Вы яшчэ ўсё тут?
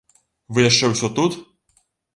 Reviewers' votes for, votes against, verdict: 2, 0, accepted